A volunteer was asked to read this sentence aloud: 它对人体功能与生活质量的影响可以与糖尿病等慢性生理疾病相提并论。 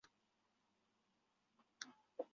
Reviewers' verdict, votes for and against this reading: rejected, 1, 4